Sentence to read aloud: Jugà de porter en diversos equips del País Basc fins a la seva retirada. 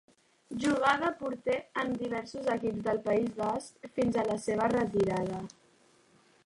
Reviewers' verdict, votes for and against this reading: accepted, 2, 0